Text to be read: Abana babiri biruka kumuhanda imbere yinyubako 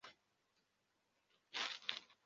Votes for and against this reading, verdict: 0, 2, rejected